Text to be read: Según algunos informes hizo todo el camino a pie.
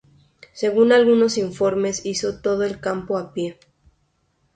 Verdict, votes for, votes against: rejected, 0, 2